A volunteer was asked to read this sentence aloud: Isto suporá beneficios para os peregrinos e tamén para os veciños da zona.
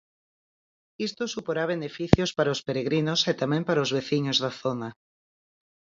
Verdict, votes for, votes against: accepted, 4, 0